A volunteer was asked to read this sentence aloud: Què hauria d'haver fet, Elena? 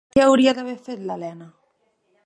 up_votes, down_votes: 1, 2